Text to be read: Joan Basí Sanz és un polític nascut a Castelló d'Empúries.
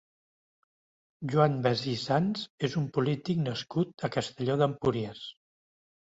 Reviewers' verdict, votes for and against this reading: accepted, 2, 0